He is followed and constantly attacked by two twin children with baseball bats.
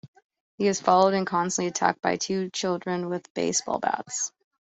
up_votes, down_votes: 0, 2